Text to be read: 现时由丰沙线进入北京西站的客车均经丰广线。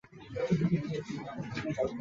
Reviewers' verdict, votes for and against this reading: rejected, 0, 2